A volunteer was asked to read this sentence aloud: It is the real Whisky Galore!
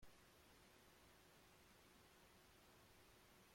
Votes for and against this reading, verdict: 1, 2, rejected